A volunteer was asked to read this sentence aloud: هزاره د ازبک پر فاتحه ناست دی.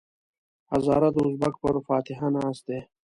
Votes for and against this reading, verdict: 2, 0, accepted